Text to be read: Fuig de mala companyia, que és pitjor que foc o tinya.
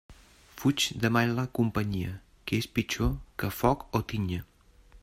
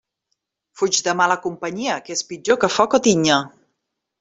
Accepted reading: second